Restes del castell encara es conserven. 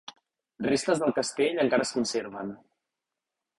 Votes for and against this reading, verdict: 2, 0, accepted